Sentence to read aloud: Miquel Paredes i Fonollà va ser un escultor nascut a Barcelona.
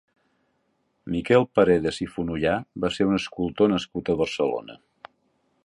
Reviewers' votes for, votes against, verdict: 2, 0, accepted